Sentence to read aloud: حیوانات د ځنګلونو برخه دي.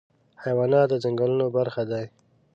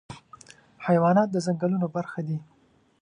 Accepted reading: second